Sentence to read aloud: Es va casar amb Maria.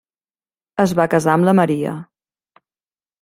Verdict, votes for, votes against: rejected, 1, 2